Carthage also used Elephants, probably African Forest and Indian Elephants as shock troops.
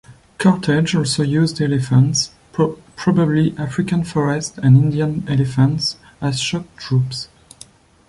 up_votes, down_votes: 1, 2